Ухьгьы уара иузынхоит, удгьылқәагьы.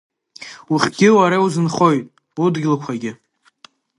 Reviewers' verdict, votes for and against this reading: accepted, 2, 1